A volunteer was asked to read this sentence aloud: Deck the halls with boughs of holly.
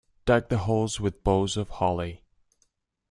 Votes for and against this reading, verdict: 0, 2, rejected